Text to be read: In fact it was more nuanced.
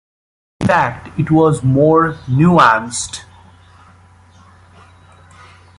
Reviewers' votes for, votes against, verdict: 0, 2, rejected